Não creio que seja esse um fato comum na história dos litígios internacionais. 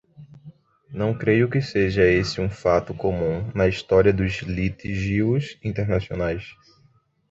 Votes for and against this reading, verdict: 1, 2, rejected